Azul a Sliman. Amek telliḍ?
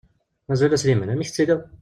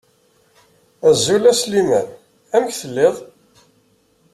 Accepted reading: second